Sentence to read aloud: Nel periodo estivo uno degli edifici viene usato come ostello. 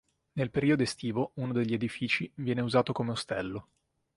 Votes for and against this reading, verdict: 3, 0, accepted